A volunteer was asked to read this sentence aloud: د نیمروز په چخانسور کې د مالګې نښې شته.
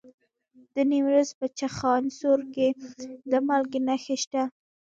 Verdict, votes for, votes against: rejected, 0, 2